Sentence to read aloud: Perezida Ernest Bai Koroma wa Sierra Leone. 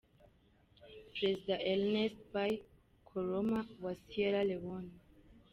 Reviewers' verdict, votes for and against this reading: rejected, 0, 2